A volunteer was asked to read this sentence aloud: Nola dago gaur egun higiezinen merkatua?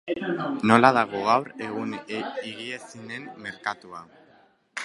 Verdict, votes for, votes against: rejected, 1, 2